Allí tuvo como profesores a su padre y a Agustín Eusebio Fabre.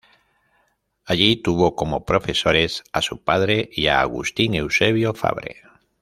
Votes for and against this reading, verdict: 2, 0, accepted